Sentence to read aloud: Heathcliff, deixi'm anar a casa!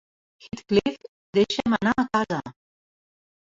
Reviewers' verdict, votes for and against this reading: rejected, 0, 2